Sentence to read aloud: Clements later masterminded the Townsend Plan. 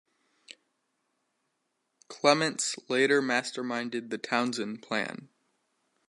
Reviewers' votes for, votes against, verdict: 1, 2, rejected